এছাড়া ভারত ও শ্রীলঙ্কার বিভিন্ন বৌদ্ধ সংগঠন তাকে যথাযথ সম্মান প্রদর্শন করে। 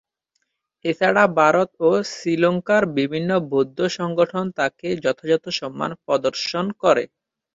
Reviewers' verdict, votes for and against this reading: accepted, 5, 2